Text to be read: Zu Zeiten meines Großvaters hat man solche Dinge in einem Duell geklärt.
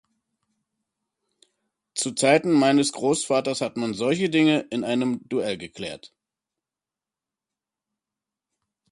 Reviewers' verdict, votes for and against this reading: accepted, 2, 0